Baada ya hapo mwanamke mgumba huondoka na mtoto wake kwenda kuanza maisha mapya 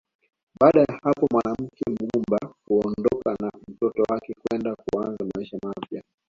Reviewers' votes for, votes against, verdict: 2, 0, accepted